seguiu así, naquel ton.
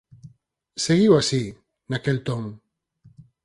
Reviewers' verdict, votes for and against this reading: accepted, 4, 0